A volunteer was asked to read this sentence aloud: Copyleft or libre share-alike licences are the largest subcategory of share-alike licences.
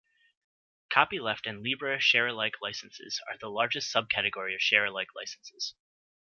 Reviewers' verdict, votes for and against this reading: rejected, 1, 2